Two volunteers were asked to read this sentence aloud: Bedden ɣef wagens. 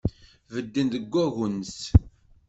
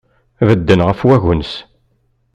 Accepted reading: second